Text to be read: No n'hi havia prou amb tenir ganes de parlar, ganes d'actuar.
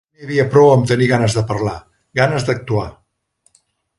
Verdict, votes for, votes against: rejected, 1, 2